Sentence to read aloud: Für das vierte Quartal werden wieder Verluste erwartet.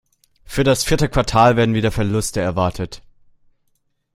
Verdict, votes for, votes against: accepted, 2, 0